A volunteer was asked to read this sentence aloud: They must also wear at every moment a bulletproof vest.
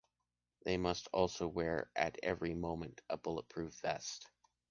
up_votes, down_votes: 2, 0